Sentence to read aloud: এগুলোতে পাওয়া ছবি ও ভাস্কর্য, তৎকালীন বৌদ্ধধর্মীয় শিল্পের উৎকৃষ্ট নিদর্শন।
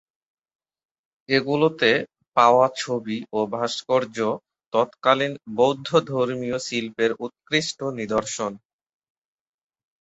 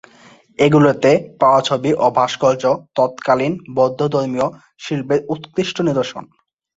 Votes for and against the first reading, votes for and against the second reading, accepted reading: 5, 4, 2, 3, first